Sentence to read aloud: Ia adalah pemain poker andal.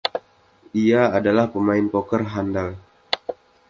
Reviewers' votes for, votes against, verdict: 2, 1, accepted